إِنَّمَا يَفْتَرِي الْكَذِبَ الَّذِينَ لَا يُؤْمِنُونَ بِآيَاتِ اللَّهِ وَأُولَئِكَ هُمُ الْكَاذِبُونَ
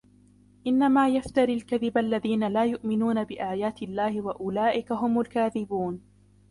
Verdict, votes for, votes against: accepted, 3, 0